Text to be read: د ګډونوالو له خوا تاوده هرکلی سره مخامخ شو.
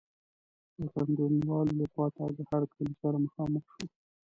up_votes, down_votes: 0, 2